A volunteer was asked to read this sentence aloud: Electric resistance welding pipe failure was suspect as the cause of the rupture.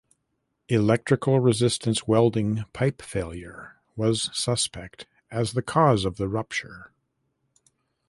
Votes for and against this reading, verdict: 2, 1, accepted